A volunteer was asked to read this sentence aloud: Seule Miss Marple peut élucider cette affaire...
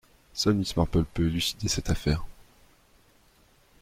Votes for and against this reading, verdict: 2, 1, accepted